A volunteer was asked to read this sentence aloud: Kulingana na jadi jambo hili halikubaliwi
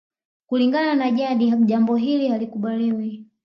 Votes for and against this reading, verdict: 2, 0, accepted